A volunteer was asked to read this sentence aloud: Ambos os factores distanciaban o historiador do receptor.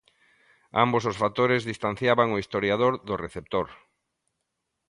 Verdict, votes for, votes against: accepted, 2, 0